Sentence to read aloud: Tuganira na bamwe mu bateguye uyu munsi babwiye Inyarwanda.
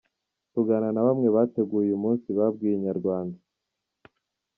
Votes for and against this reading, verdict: 0, 2, rejected